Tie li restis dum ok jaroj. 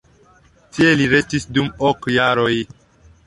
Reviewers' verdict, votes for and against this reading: accepted, 2, 0